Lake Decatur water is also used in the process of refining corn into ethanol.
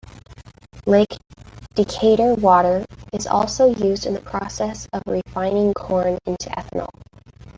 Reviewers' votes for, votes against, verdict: 1, 2, rejected